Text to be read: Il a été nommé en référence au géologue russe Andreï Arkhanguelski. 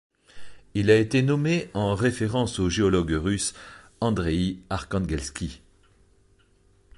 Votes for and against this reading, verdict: 2, 0, accepted